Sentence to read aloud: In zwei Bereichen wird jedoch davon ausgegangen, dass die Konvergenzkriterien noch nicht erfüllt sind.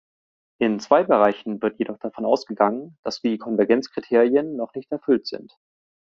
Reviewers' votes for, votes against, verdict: 2, 0, accepted